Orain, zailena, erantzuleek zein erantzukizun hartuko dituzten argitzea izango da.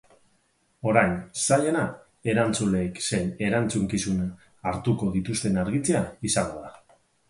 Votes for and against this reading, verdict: 4, 0, accepted